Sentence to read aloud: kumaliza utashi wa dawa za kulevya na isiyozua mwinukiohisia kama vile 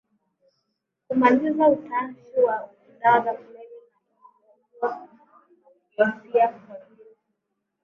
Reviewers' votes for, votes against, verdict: 0, 3, rejected